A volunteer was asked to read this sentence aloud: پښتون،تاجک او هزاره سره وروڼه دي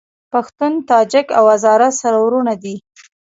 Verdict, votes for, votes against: accepted, 2, 0